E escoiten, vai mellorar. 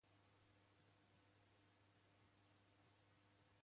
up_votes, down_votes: 0, 2